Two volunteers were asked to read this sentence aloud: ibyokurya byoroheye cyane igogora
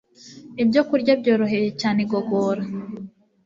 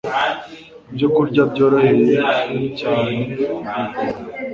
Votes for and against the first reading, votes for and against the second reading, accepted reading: 2, 0, 0, 2, first